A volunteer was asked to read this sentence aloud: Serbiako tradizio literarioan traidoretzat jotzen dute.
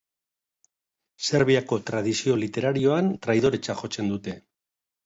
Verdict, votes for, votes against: accepted, 3, 1